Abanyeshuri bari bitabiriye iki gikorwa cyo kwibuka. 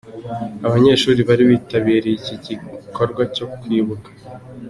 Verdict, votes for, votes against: accepted, 2, 1